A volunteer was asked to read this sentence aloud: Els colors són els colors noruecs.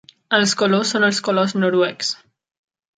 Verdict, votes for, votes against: accepted, 3, 0